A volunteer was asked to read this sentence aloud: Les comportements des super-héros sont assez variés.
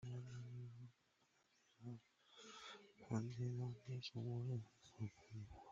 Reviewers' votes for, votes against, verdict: 0, 2, rejected